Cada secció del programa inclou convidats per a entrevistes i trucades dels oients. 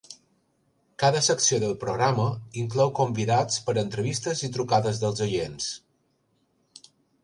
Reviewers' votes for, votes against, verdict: 3, 0, accepted